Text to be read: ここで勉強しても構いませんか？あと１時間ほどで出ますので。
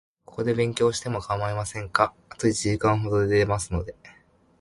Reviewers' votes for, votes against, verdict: 0, 2, rejected